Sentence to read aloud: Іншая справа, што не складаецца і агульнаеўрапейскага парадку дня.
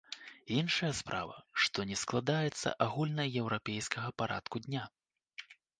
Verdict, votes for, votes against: rejected, 1, 2